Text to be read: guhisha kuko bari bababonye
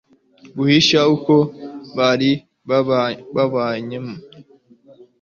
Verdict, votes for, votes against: accepted, 2, 0